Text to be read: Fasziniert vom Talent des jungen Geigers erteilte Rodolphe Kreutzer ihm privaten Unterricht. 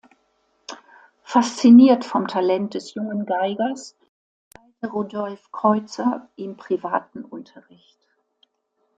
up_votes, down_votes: 2, 0